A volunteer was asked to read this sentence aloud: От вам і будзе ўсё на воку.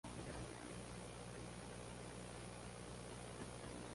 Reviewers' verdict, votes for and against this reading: rejected, 0, 2